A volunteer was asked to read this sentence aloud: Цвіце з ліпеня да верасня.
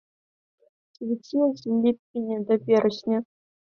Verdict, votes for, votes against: accepted, 2, 0